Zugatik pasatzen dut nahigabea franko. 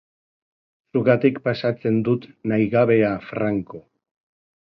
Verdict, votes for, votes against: accepted, 2, 0